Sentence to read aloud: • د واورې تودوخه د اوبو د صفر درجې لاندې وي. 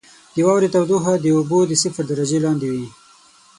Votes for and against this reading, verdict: 9, 3, accepted